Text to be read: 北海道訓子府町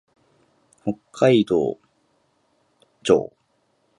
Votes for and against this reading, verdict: 0, 2, rejected